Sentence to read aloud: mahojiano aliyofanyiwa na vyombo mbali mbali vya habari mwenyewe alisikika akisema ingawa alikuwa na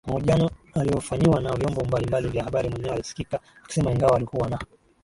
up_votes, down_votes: 1, 2